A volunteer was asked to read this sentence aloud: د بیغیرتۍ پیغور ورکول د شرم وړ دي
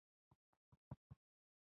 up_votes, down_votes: 0, 2